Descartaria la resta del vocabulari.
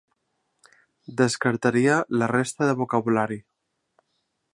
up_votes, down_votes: 2, 0